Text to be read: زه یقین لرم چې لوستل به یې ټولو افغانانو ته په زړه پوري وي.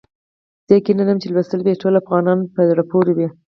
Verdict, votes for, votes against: accepted, 4, 0